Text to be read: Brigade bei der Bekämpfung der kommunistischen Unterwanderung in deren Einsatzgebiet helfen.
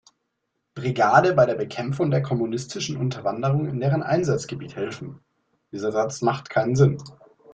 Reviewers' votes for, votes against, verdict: 0, 2, rejected